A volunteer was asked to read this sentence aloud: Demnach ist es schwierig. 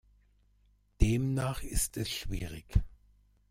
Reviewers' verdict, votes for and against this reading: accepted, 2, 0